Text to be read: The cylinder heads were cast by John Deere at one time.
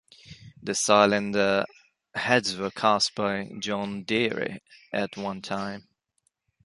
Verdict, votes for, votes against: rejected, 0, 2